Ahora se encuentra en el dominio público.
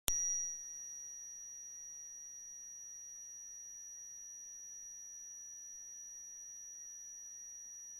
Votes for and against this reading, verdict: 0, 2, rejected